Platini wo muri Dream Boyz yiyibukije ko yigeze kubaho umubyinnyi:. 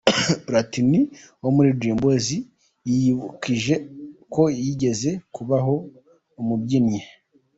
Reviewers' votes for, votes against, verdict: 2, 0, accepted